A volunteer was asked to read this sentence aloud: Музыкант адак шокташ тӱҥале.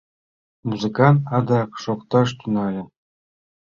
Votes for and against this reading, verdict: 2, 0, accepted